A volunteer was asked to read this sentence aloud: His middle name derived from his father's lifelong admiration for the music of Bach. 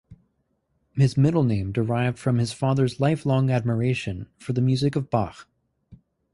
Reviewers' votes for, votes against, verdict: 4, 0, accepted